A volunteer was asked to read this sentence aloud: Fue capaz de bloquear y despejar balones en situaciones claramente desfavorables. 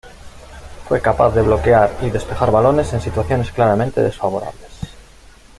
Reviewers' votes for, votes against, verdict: 2, 0, accepted